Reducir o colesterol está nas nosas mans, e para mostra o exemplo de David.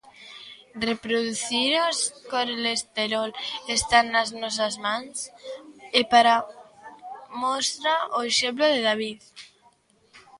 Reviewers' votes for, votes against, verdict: 0, 2, rejected